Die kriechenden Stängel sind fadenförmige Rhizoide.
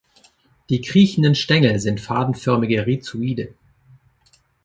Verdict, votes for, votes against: accepted, 2, 0